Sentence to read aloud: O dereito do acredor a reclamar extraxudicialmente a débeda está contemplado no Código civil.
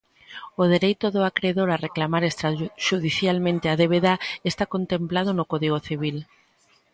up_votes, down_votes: 2, 0